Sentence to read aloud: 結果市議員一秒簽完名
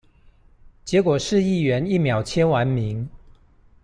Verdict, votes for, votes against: accepted, 2, 0